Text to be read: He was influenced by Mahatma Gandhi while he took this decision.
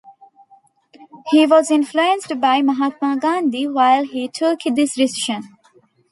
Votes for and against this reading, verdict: 1, 2, rejected